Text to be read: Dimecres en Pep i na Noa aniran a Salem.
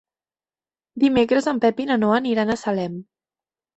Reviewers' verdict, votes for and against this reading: accepted, 2, 0